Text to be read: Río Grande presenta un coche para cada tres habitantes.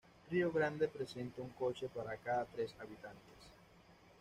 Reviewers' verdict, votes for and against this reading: rejected, 1, 2